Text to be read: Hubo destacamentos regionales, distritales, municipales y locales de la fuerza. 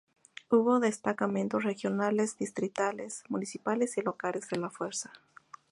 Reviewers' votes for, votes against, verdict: 2, 0, accepted